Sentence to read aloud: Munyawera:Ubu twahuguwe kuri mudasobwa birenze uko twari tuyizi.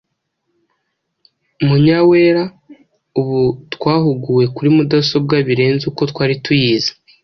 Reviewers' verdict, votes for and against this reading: accepted, 2, 0